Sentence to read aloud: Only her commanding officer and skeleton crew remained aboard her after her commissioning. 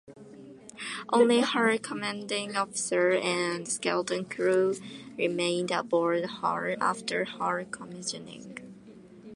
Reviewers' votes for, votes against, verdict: 2, 1, accepted